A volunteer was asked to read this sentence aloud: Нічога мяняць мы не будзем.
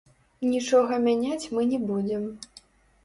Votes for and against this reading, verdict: 0, 2, rejected